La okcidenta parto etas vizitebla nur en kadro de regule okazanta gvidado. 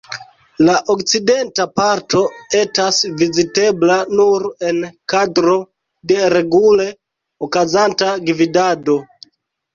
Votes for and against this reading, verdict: 2, 0, accepted